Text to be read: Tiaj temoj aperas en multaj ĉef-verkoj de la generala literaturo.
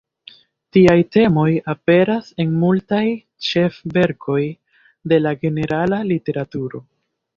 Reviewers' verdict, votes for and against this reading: accepted, 2, 0